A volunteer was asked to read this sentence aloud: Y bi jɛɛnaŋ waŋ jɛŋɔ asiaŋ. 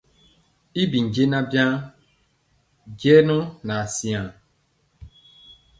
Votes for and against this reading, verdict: 2, 0, accepted